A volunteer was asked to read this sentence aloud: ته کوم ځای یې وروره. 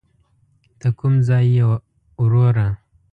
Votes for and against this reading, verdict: 2, 0, accepted